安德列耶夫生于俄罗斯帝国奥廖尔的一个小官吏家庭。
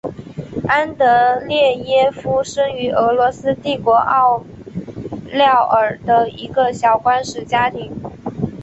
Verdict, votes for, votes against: accepted, 4, 1